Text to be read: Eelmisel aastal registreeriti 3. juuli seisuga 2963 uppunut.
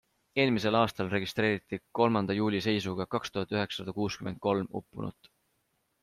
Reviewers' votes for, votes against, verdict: 0, 2, rejected